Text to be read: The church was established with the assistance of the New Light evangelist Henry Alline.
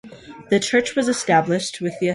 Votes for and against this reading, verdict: 0, 2, rejected